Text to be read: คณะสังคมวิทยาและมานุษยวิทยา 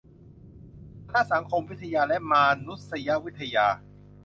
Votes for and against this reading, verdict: 0, 2, rejected